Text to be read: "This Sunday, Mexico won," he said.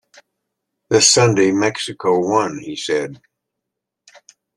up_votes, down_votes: 2, 0